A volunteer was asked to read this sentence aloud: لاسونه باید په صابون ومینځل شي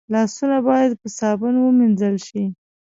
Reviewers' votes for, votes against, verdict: 2, 0, accepted